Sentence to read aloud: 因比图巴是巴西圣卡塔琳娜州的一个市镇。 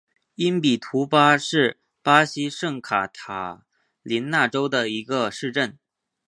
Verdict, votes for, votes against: accepted, 2, 0